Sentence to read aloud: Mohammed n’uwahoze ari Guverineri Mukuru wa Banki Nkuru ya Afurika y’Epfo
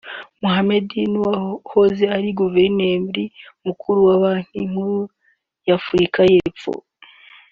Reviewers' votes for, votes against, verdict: 2, 0, accepted